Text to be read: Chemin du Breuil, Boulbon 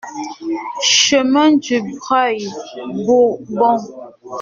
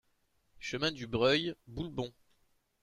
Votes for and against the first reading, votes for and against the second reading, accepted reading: 0, 2, 2, 0, second